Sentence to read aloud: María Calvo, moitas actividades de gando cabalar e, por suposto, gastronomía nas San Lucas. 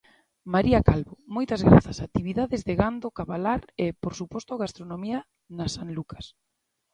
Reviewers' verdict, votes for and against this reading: rejected, 0, 2